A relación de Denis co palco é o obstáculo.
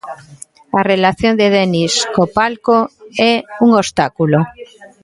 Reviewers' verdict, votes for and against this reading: rejected, 1, 2